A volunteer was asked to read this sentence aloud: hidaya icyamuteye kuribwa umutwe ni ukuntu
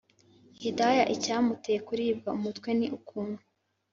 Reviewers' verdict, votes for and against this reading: accepted, 3, 0